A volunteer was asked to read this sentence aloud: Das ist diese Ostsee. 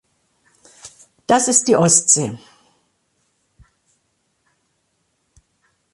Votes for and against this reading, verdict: 1, 2, rejected